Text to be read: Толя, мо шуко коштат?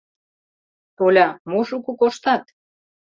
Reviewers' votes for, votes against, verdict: 2, 0, accepted